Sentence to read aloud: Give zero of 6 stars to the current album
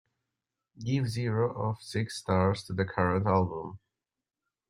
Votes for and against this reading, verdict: 0, 2, rejected